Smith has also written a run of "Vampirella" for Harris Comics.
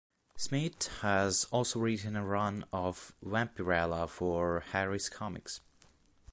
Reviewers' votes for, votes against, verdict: 0, 2, rejected